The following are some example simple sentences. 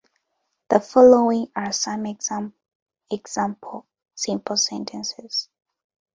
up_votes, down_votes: 1, 2